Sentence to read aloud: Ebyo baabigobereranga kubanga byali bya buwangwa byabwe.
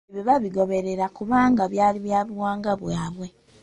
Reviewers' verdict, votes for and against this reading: rejected, 0, 2